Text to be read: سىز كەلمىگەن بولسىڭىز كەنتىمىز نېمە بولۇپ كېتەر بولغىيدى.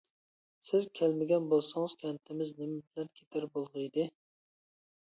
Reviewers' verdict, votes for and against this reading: rejected, 0, 2